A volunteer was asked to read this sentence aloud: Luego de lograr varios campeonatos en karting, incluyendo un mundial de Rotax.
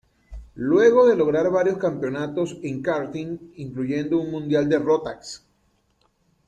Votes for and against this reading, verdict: 2, 0, accepted